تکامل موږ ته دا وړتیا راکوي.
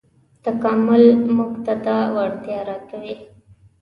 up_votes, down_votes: 2, 0